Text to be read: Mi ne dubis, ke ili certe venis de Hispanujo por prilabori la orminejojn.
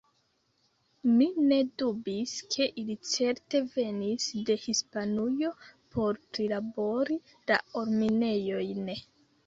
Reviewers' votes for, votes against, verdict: 2, 0, accepted